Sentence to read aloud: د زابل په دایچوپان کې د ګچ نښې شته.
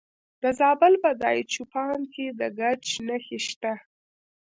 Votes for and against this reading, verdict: 0, 2, rejected